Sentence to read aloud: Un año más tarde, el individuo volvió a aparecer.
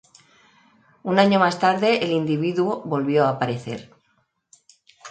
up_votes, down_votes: 2, 0